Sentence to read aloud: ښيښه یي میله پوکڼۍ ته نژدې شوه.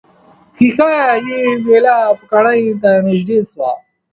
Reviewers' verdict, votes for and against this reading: rejected, 0, 2